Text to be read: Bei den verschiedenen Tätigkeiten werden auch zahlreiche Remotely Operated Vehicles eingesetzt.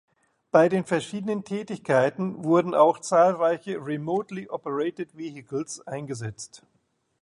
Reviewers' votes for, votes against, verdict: 1, 3, rejected